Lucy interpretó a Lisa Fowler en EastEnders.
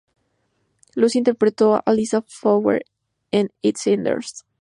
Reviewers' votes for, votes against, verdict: 2, 0, accepted